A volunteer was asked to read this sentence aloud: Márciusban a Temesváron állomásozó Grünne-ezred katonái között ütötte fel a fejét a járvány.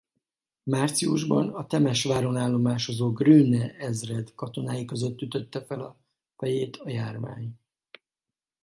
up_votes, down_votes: 4, 0